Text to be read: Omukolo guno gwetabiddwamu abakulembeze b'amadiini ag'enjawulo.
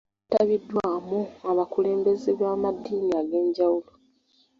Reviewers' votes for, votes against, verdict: 0, 2, rejected